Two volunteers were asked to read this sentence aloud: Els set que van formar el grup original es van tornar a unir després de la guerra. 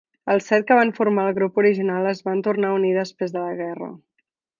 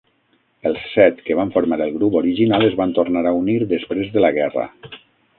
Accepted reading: first